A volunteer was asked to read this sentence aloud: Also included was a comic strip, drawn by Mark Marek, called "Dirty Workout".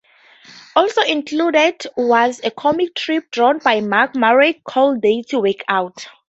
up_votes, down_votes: 0, 2